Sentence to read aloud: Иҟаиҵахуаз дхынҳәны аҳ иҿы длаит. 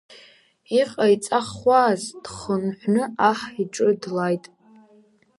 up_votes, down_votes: 2, 0